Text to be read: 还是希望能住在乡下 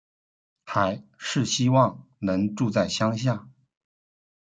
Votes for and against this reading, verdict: 2, 1, accepted